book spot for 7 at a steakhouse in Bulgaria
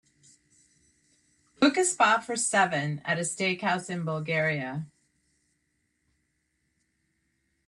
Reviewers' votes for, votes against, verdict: 0, 2, rejected